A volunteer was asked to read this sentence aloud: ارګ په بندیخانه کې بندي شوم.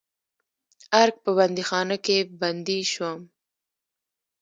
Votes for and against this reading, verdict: 0, 2, rejected